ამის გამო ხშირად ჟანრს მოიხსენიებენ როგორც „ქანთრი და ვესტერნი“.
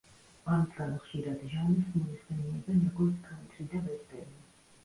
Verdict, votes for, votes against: rejected, 1, 2